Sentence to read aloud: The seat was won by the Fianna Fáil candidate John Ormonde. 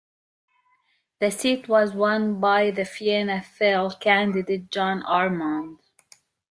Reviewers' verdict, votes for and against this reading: rejected, 0, 2